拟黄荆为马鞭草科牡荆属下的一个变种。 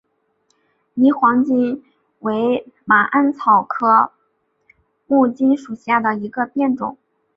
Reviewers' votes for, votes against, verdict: 0, 2, rejected